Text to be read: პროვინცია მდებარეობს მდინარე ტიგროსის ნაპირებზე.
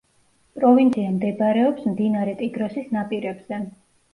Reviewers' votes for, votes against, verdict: 1, 2, rejected